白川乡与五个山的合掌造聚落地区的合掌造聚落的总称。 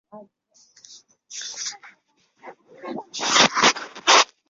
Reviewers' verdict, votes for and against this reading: rejected, 0, 2